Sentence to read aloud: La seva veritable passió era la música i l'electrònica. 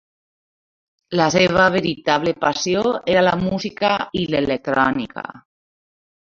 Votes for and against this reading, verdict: 1, 2, rejected